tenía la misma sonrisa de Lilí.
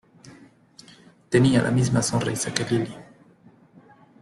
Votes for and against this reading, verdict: 0, 2, rejected